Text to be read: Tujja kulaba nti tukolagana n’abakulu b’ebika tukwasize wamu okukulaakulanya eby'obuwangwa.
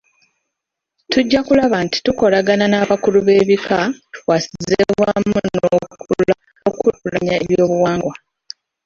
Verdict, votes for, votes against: rejected, 0, 2